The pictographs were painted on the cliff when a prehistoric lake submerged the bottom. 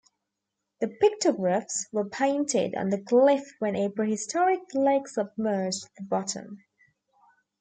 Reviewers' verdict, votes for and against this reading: accepted, 2, 0